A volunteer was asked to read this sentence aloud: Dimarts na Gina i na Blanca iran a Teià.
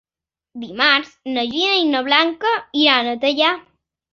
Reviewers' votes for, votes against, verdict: 4, 0, accepted